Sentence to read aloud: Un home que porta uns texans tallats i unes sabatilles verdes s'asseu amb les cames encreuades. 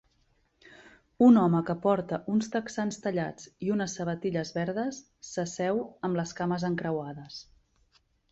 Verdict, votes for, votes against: accepted, 6, 0